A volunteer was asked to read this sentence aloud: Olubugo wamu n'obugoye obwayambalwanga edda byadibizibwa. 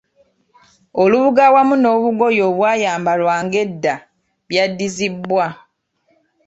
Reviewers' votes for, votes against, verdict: 2, 0, accepted